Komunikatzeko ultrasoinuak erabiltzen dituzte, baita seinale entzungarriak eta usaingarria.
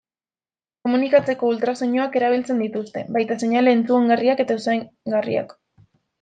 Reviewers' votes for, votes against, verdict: 0, 2, rejected